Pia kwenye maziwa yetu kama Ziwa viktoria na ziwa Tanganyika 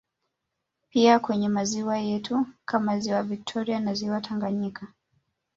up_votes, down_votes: 0, 2